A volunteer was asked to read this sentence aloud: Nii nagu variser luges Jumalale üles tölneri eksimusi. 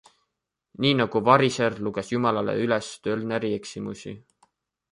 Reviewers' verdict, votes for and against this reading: accepted, 2, 0